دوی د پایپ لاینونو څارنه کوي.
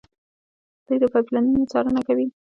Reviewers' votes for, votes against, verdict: 2, 0, accepted